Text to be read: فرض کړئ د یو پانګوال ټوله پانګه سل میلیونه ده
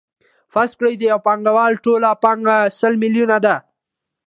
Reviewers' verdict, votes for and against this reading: accepted, 2, 0